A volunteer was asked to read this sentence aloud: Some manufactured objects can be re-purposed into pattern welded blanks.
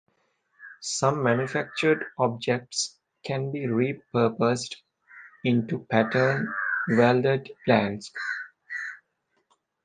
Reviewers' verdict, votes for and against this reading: accepted, 2, 0